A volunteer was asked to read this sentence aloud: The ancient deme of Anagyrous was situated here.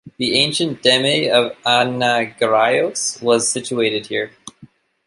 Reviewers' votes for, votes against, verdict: 1, 2, rejected